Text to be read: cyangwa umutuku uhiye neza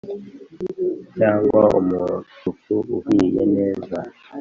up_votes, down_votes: 2, 0